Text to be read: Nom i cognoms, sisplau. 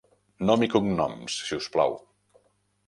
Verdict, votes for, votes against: accepted, 2, 0